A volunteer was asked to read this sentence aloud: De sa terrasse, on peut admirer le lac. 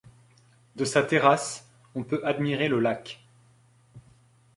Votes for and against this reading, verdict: 2, 0, accepted